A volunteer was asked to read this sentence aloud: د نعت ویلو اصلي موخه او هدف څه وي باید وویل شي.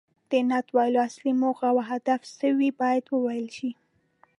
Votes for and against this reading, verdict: 2, 0, accepted